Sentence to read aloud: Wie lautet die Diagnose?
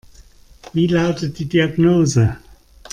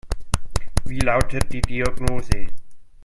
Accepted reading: first